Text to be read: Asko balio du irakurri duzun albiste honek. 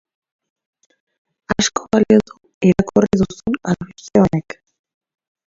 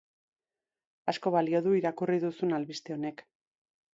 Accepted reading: second